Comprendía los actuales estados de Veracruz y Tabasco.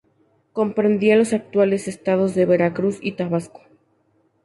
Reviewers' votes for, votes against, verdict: 4, 0, accepted